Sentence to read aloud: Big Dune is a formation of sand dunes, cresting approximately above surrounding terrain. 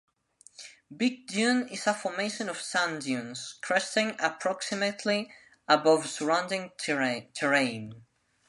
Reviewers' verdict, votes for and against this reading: rejected, 0, 2